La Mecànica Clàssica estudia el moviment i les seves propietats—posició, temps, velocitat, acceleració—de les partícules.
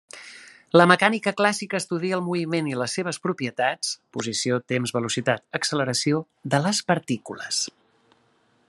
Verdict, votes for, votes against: accepted, 2, 0